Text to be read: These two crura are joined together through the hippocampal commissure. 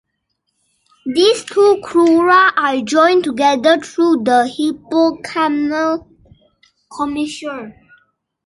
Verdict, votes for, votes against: rejected, 1, 2